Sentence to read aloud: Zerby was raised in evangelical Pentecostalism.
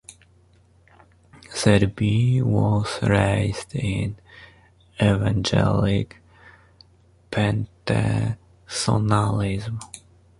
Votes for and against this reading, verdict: 1, 2, rejected